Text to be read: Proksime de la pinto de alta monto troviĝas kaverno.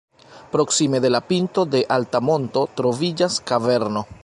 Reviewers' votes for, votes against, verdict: 2, 1, accepted